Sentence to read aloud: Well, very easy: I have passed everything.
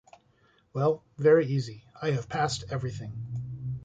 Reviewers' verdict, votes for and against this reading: accepted, 2, 0